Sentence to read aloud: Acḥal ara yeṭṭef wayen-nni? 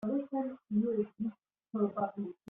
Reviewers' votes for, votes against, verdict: 0, 2, rejected